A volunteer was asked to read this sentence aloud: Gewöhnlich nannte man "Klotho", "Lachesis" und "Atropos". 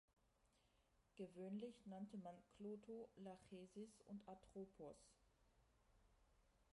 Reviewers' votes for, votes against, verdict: 0, 2, rejected